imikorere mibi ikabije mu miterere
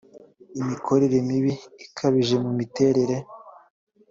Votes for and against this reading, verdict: 3, 0, accepted